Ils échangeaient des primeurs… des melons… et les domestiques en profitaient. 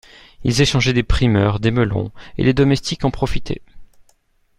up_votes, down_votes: 2, 0